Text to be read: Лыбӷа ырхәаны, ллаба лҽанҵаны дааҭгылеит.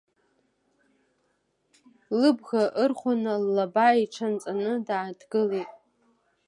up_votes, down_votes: 1, 2